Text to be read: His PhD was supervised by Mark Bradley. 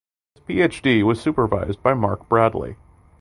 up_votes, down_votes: 2, 0